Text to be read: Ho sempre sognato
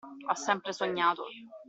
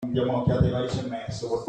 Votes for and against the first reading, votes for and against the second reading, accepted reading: 2, 0, 0, 2, first